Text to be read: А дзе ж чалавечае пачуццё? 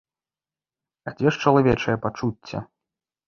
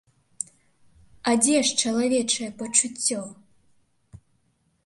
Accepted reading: second